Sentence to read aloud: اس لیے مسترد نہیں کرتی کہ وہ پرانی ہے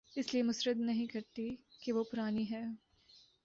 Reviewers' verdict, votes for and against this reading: accepted, 4, 0